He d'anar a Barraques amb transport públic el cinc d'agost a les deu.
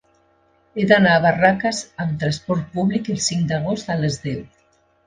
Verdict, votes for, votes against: accepted, 2, 0